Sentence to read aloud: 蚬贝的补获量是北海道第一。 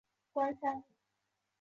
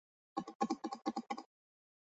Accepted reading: second